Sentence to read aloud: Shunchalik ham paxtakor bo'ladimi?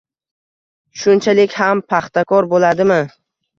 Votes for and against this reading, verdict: 2, 0, accepted